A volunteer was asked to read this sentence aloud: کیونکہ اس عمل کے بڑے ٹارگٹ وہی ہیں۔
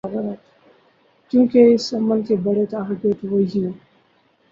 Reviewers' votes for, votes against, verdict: 0, 6, rejected